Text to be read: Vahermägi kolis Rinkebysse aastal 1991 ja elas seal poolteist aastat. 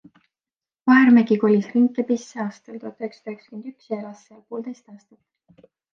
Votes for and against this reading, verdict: 0, 2, rejected